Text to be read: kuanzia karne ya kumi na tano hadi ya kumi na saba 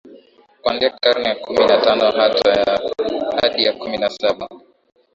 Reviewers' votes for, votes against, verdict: 6, 3, accepted